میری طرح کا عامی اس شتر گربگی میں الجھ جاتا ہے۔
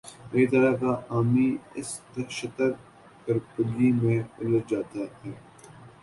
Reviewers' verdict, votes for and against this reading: rejected, 2, 5